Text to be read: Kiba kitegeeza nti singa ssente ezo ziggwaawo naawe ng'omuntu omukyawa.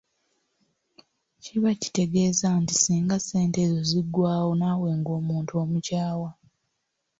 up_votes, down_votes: 3, 0